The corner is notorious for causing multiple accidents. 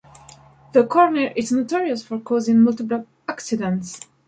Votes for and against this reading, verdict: 2, 0, accepted